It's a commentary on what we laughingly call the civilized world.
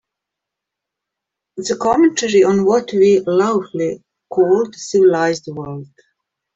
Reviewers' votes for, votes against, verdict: 0, 2, rejected